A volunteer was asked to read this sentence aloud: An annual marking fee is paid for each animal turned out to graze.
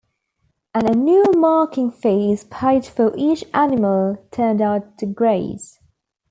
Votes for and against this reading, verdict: 2, 0, accepted